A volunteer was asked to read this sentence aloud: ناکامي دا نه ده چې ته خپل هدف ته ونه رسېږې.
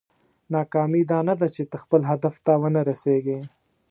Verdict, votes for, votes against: accepted, 2, 0